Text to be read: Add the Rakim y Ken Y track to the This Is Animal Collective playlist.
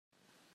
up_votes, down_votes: 0, 2